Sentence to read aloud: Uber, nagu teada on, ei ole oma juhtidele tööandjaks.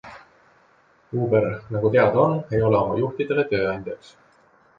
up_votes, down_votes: 2, 0